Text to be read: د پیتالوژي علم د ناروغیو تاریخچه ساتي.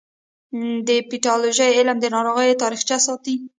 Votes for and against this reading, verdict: 1, 2, rejected